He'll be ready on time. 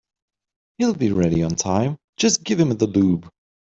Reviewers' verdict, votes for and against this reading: rejected, 0, 2